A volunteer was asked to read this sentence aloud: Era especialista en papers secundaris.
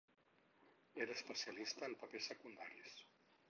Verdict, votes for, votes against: rejected, 0, 4